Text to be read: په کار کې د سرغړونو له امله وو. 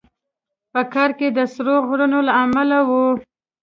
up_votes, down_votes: 0, 2